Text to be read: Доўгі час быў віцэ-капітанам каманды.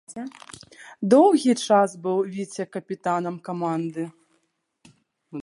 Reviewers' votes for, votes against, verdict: 0, 2, rejected